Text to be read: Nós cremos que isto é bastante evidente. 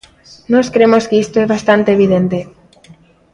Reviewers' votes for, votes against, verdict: 1, 2, rejected